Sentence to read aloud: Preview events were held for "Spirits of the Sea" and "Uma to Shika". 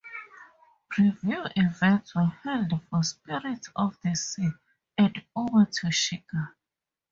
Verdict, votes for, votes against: accepted, 2, 0